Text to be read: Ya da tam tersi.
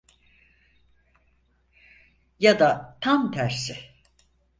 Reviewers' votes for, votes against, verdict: 4, 0, accepted